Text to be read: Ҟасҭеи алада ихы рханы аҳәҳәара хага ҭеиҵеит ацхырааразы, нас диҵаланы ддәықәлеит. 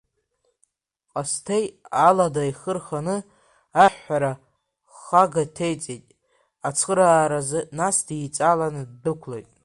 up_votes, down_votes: 1, 2